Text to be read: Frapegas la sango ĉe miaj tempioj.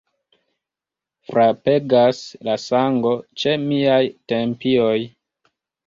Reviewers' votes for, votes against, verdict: 2, 0, accepted